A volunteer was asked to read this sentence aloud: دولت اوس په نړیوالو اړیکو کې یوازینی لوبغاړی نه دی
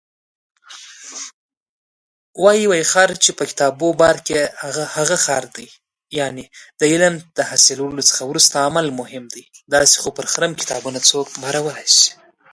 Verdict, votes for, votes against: rejected, 0, 2